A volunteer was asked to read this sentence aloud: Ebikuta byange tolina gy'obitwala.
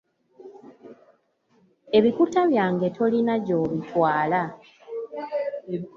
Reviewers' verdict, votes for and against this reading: accepted, 2, 0